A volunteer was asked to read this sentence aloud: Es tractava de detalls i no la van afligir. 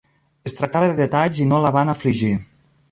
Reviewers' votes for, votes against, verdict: 0, 2, rejected